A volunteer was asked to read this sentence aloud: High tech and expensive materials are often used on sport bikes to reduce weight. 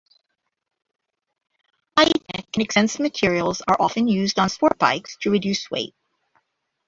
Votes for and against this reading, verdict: 0, 2, rejected